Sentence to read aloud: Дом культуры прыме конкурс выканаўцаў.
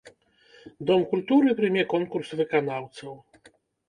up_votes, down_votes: 1, 2